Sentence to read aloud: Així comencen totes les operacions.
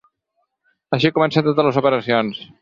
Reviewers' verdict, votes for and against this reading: accepted, 6, 0